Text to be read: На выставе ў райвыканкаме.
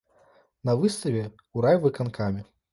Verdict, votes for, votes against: rejected, 1, 2